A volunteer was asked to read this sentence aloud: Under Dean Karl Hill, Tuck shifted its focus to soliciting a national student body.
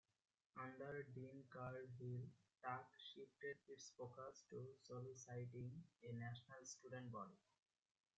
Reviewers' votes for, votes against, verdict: 0, 2, rejected